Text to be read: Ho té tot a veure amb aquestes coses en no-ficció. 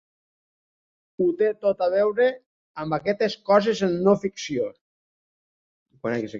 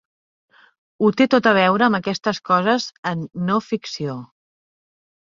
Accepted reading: second